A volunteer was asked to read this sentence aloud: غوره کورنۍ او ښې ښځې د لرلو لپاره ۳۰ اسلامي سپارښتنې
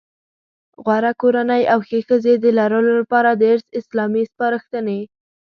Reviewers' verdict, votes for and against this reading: rejected, 0, 2